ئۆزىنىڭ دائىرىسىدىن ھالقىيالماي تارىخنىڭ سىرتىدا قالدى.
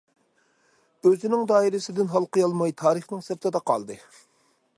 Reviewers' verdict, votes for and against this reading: accepted, 2, 0